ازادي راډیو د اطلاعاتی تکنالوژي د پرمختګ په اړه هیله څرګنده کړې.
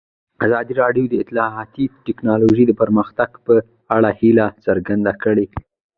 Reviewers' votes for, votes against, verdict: 1, 2, rejected